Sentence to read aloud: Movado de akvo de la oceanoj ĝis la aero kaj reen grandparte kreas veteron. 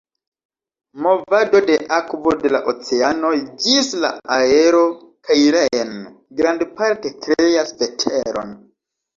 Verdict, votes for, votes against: accepted, 2, 0